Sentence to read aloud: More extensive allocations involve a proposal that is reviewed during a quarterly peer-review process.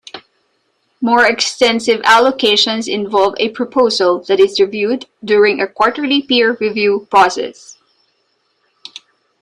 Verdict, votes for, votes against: accepted, 2, 0